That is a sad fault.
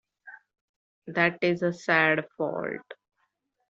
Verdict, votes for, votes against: accepted, 2, 1